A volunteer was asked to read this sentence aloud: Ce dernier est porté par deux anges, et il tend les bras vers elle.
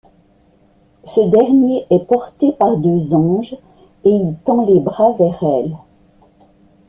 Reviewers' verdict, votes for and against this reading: accepted, 2, 0